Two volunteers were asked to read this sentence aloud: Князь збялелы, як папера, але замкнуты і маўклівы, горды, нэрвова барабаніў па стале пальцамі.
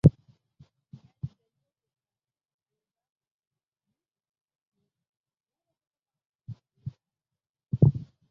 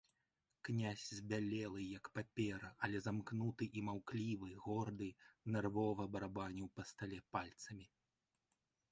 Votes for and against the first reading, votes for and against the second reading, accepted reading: 0, 2, 2, 0, second